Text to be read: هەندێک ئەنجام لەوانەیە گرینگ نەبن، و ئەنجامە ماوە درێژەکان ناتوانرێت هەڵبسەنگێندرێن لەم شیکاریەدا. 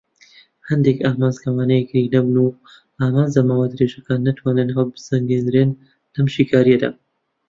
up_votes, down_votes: 0, 2